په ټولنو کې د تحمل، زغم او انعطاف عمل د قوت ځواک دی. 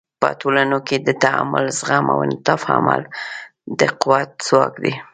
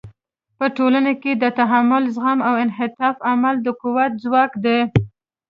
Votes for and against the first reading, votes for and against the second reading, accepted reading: 1, 2, 2, 0, second